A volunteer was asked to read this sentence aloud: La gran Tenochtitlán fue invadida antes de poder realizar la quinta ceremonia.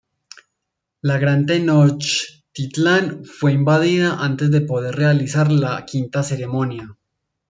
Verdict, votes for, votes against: rejected, 1, 2